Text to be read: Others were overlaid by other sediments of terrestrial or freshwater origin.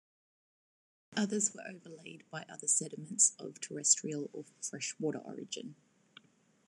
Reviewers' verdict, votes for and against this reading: rejected, 1, 2